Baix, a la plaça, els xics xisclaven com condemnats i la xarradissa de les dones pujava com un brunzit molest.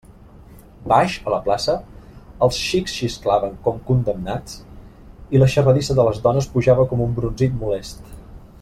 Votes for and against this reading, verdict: 2, 0, accepted